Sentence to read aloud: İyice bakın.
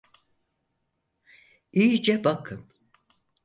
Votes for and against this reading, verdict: 4, 0, accepted